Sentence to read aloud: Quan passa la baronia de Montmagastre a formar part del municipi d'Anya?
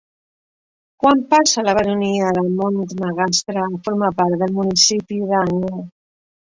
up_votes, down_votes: 1, 4